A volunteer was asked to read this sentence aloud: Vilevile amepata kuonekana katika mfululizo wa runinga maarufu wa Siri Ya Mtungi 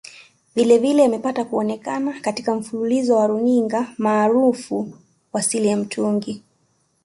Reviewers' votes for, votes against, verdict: 2, 0, accepted